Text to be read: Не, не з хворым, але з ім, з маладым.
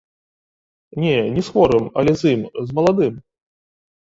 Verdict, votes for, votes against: accepted, 2, 0